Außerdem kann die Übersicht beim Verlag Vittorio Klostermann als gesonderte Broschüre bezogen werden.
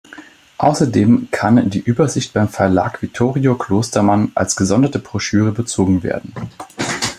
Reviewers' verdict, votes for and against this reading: rejected, 1, 2